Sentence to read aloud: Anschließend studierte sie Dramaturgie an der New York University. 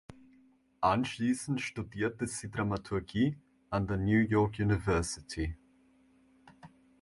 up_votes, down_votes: 2, 0